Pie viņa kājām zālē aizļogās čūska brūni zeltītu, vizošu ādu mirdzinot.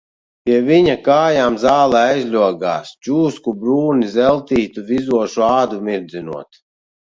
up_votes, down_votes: 0, 2